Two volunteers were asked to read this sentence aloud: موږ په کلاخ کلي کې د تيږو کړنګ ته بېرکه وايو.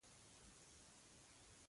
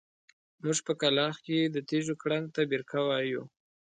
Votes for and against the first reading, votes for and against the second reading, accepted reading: 0, 3, 2, 1, second